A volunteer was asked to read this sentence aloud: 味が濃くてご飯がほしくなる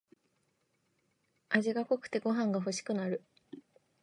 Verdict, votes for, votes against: accepted, 2, 0